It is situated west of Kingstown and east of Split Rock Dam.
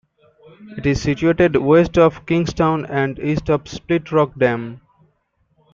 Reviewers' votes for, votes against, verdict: 2, 0, accepted